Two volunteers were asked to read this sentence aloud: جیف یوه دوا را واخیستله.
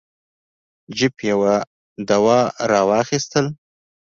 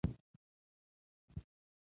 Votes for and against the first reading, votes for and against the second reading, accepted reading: 2, 0, 1, 2, first